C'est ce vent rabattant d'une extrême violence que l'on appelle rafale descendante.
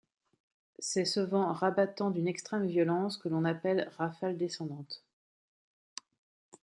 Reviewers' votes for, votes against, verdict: 2, 0, accepted